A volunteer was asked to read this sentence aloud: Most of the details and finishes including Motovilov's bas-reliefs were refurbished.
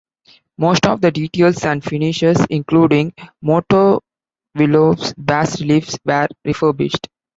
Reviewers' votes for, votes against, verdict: 0, 2, rejected